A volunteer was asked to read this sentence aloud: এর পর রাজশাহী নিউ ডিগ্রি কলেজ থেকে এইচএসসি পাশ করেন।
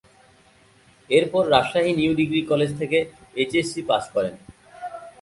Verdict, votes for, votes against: accepted, 2, 0